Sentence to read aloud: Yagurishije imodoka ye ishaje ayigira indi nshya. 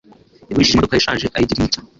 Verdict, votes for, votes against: rejected, 1, 2